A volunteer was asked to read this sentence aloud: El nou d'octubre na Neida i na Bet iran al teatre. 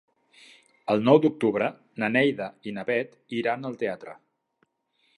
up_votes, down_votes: 3, 0